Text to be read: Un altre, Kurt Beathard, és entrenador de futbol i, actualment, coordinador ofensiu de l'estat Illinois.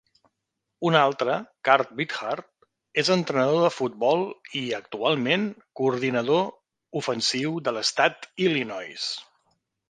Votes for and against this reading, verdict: 3, 0, accepted